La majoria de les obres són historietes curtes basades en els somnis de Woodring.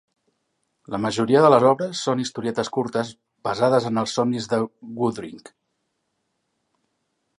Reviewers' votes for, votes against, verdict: 3, 1, accepted